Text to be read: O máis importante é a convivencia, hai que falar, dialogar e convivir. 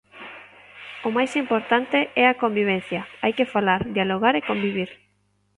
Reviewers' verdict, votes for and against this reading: accepted, 2, 0